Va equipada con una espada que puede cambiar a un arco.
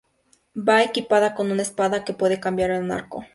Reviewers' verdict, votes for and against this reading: rejected, 2, 2